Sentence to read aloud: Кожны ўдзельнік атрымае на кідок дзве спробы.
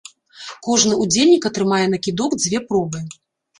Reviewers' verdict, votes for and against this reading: rejected, 0, 2